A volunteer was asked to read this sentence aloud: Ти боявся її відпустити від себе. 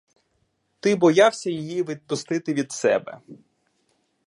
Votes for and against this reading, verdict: 2, 0, accepted